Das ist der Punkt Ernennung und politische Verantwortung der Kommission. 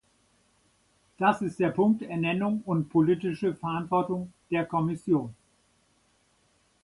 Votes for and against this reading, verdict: 2, 0, accepted